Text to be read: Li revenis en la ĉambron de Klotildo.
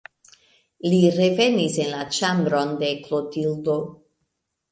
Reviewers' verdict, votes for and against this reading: accepted, 2, 0